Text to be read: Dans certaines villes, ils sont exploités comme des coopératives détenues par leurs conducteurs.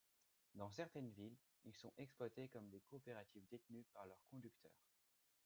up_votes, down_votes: 1, 2